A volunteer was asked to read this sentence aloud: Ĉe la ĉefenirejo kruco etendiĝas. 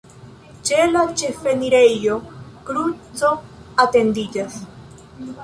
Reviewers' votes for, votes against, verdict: 1, 2, rejected